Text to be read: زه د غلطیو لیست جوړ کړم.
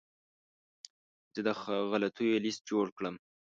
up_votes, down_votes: 1, 2